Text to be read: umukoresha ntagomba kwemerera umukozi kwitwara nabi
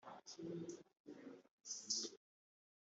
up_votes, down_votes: 1, 2